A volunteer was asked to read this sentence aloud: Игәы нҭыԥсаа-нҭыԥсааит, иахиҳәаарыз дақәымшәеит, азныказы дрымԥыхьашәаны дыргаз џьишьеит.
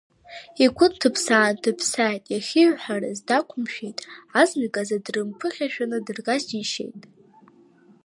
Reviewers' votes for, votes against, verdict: 1, 2, rejected